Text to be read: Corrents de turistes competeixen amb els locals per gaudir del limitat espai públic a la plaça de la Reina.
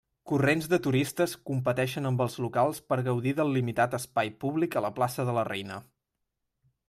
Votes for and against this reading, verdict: 4, 0, accepted